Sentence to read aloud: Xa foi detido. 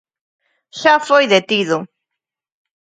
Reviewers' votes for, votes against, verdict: 2, 0, accepted